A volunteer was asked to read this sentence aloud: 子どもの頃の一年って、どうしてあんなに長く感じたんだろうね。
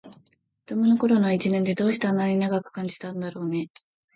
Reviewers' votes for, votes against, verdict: 2, 0, accepted